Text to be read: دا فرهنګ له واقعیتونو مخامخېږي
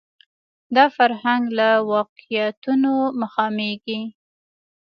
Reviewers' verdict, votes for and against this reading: rejected, 0, 2